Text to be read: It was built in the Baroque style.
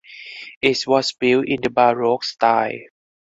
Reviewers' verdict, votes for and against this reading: accepted, 4, 2